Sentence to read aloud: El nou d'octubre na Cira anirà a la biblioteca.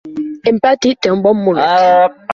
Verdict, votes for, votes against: rejected, 0, 2